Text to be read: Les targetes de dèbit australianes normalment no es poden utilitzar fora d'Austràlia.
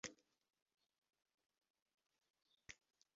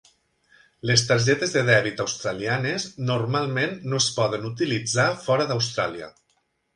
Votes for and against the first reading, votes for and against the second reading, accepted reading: 0, 2, 3, 0, second